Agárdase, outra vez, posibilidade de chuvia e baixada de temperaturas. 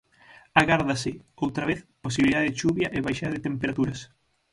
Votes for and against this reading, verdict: 0, 6, rejected